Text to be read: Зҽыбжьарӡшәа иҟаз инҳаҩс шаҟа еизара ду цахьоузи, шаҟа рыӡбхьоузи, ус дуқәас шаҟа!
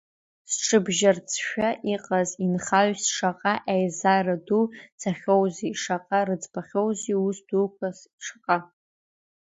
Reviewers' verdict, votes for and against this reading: rejected, 1, 2